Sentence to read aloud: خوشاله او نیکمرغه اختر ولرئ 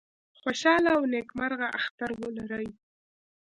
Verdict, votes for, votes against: accepted, 2, 0